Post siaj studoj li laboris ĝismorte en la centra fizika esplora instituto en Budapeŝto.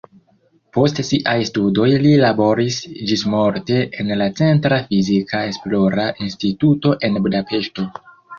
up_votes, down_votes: 0, 2